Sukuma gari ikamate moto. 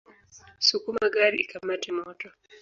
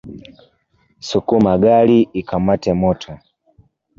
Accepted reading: second